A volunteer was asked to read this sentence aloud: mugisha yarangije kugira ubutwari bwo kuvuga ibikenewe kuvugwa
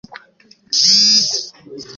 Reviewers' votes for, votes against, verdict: 0, 2, rejected